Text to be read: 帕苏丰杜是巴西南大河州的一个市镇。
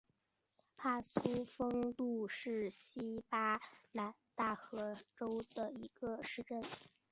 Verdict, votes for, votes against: accepted, 2, 1